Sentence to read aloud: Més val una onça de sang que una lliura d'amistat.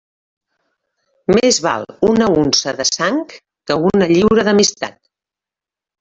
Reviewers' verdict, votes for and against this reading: accepted, 2, 1